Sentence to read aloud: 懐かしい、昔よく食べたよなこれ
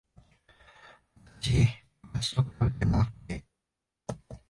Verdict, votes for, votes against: rejected, 0, 2